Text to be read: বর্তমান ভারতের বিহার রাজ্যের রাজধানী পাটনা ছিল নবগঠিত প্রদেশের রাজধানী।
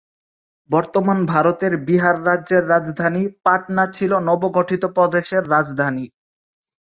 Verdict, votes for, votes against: rejected, 0, 3